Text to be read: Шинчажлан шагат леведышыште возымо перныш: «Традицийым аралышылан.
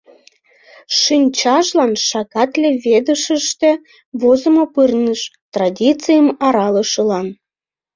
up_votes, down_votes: 0, 2